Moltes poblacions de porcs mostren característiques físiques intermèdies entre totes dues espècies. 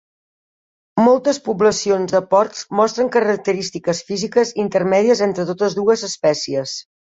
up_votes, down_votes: 2, 0